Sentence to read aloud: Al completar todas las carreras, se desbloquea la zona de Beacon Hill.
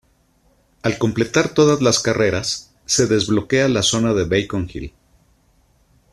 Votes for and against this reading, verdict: 2, 0, accepted